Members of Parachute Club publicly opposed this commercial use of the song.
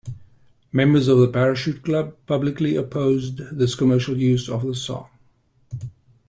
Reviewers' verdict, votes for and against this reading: rejected, 1, 2